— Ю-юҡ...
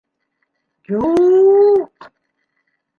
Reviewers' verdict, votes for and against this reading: accepted, 2, 0